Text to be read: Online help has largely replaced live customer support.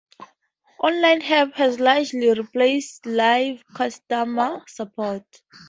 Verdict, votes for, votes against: accepted, 2, 0